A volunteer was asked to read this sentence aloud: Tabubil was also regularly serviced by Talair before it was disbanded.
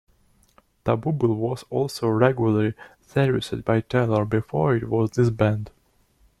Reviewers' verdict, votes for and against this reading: rejected, 1, 2